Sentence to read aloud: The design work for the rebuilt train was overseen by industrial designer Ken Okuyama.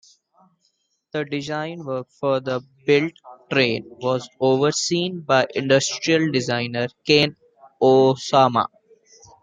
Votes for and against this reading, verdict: 1, 2, rejected